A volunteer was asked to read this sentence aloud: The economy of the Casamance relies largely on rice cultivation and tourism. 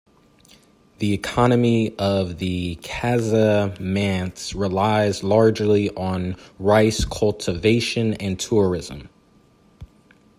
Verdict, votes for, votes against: accepted, 2, 0